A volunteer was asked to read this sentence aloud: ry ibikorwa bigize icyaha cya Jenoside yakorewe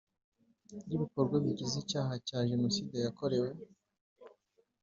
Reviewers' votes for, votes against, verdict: 2, 0, accepted